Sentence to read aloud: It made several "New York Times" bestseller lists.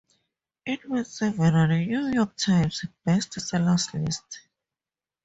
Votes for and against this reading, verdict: 2, 2, rejected